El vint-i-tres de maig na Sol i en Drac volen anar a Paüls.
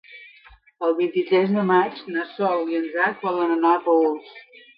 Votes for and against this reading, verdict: 2, 0, accepted